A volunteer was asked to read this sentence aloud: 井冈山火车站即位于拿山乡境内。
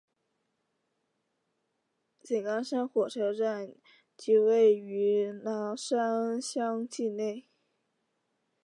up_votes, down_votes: 2, 1